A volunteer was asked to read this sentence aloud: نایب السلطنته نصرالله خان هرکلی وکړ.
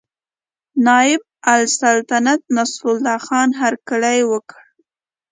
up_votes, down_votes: 2, 0